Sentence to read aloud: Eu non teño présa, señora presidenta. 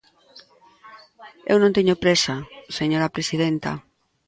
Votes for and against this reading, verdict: 2, 0, accepted